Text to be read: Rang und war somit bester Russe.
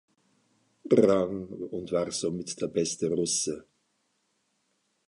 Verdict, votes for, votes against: rejected, 0, 2